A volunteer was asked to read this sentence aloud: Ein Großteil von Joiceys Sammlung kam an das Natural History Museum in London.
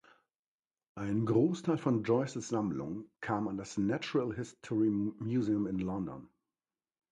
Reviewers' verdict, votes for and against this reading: accepted, 2, 0